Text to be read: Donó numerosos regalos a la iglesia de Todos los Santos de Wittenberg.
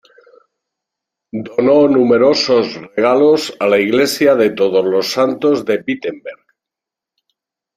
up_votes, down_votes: 2, 0